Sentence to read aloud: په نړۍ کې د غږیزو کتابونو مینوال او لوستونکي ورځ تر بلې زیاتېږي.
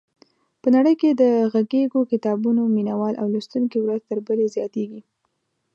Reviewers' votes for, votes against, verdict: 2, 0, accepted